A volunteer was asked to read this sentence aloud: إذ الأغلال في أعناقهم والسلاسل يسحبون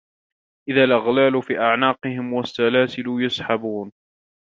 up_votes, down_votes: 1, 2